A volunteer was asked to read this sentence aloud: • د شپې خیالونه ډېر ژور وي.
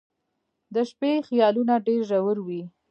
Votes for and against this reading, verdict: 2, 0, accepted